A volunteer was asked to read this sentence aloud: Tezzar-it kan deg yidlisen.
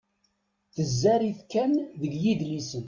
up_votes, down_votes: 0, 2